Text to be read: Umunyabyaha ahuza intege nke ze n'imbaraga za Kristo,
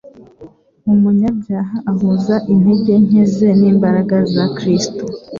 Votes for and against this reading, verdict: 2, 0, accepted